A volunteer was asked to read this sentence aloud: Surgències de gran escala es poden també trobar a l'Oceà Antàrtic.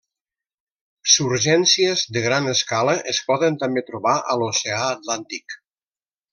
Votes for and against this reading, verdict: 0, 2, rejected